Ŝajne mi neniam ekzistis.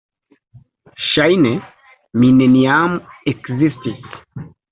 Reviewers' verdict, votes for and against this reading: accepted, 2, 0